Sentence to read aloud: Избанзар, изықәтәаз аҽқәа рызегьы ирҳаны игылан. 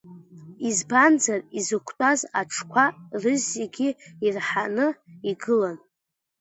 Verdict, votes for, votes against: accepted, 2, 0